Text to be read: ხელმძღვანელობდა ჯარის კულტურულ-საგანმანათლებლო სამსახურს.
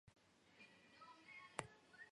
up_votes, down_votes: 0, 2